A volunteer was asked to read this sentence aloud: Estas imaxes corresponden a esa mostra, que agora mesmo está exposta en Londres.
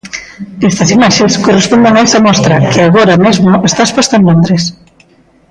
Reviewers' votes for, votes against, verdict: 1, 2, rejected